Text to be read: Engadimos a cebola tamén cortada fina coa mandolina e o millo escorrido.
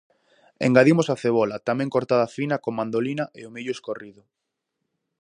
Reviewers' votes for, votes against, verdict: 2, 2, rejected